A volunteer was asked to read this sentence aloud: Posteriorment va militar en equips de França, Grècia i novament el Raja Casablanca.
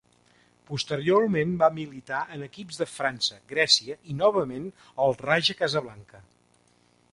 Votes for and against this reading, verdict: 2, 0, accepted